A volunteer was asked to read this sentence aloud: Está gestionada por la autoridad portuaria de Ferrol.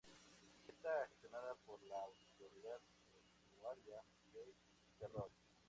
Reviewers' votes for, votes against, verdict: 0, 2, rejected